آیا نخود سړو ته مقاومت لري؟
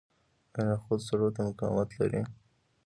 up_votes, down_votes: 2, 1